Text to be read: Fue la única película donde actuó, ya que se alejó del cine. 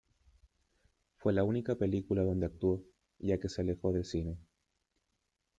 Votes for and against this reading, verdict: 2, 0, accepted